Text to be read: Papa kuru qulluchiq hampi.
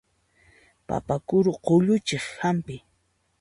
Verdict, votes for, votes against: accepted, 2, 0